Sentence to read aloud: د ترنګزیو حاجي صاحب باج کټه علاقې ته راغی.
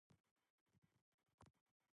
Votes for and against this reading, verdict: 0, 3, rejected